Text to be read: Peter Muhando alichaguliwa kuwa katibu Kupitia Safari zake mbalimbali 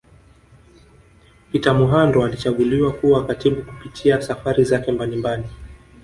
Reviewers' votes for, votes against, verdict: 2, 1, accepted